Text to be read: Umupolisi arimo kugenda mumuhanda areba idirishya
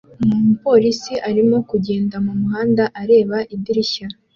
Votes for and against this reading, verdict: 2, 0, accepted